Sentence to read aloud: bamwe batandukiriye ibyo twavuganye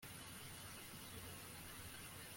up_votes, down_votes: 0, 2